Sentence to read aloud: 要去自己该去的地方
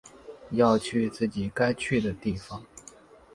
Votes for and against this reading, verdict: 3, 0, accepted